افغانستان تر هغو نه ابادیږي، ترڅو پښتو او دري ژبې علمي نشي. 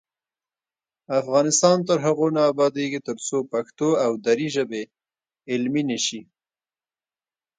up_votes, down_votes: 2, 1